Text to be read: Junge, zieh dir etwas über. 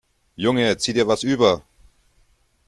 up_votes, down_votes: 1, 2